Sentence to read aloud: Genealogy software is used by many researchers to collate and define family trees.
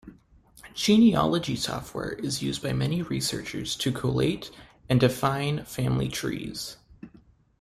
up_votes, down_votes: 2, 0